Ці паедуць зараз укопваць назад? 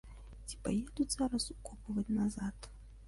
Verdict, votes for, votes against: rejected, 0, 2